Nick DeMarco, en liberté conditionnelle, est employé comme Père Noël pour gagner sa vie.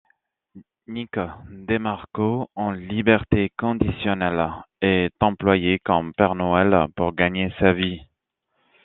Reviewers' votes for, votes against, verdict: 2, 0, accepted